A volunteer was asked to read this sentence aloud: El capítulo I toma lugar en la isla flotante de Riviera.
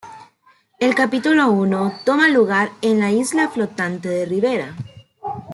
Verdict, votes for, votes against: rejected, 0, 2